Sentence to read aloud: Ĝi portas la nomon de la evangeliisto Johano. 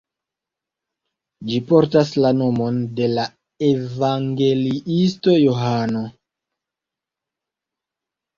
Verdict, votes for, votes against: accepted, 2, 0